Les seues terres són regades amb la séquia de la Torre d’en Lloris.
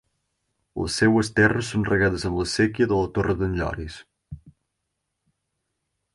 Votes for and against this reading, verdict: 6, 0, accepted